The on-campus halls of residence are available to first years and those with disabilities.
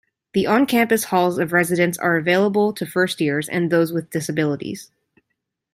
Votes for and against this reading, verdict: 2, 0, accepted